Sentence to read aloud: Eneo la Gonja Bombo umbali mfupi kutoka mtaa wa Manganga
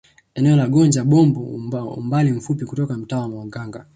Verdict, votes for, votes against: rejected, 1, 2